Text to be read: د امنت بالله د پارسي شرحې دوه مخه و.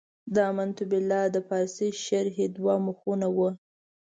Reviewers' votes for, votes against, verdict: 1, 2, rejected